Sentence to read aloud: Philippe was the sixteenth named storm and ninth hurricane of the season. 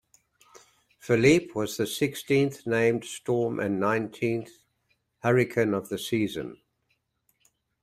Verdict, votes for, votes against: rejected, 1, 2